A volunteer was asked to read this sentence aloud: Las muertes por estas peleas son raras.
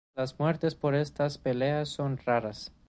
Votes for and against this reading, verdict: 1, 2, rejected